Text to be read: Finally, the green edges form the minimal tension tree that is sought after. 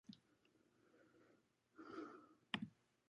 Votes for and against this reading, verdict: 0, 2, rejected